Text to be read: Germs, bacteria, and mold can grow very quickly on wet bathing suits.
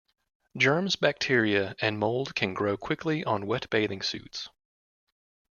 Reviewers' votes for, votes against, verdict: 1, 2, rejected